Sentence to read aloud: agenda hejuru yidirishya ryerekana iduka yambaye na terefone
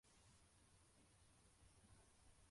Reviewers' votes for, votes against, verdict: 0, 2, rejected